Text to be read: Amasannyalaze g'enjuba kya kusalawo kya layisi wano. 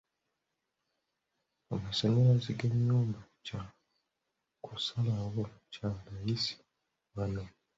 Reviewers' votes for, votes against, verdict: 1, 2, rejected